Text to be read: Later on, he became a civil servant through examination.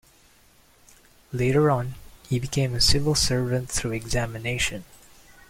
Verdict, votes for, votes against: accepted, 2, 0